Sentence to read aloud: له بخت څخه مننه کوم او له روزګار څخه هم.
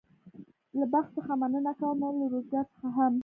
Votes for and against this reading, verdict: 1, 2, rejected